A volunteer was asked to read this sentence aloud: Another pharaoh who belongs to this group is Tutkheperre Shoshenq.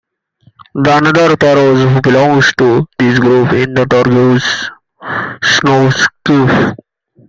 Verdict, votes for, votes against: rejected, 0, 2